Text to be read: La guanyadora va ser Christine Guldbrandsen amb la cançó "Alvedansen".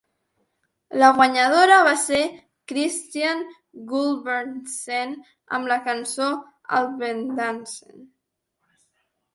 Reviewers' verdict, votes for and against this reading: rejected, 0, 2